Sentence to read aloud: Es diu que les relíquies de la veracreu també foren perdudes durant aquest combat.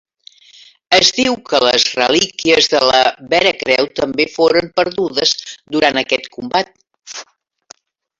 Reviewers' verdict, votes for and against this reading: accepted, 2, 0